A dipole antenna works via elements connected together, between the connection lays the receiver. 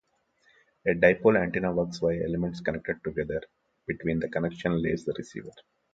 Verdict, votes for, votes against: accepted, 2, 0